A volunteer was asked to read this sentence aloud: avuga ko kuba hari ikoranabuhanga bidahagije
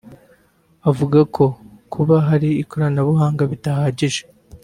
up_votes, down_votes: 2, 1